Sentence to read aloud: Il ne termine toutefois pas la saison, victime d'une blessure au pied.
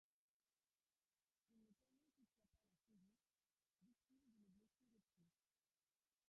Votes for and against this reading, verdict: 0, 2, rejected